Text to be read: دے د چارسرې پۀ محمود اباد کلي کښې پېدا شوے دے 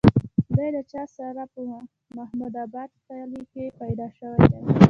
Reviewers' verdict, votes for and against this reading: accepted, 2, 1